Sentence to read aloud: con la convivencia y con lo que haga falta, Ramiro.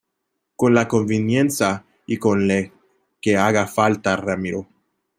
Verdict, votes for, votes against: rejected, 0, 2